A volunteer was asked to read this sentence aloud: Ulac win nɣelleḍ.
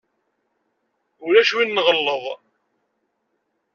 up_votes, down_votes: 2, 0